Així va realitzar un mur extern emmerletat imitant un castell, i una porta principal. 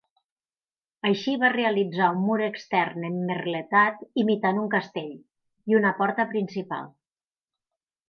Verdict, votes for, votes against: accepted, 6, 0